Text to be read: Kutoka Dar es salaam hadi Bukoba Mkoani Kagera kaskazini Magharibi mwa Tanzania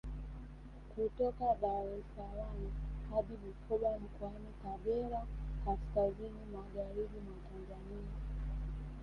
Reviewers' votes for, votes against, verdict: 4, 0, accepted